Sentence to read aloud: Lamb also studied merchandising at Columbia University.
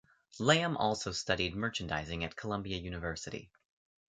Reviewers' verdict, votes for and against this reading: accepted, 2, 0